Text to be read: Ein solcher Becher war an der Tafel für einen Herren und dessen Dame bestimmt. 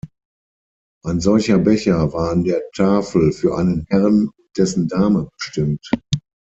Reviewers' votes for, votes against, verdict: 3, 6, rejected